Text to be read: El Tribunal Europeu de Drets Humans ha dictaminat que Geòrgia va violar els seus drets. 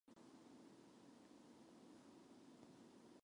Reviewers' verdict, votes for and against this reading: rejected, 0, 2